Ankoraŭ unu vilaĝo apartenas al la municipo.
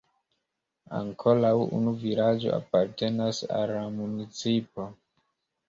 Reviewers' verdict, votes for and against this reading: rejected, 1, 2